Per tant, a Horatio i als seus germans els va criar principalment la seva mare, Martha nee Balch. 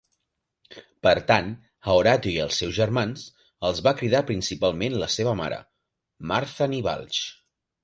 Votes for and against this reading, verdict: 2, 1, accepted